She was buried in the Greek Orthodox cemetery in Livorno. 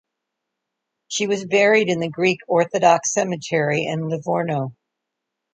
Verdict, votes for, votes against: accepted, 2, 0